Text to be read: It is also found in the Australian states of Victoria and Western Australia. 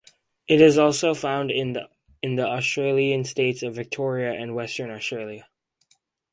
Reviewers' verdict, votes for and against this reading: rejected, 0, 2